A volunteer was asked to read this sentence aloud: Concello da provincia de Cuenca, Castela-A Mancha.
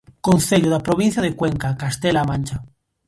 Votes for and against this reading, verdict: 2, 0, accepted